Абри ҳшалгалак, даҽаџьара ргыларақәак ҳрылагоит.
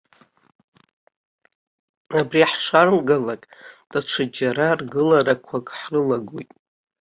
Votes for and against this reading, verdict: 2, 0, accepted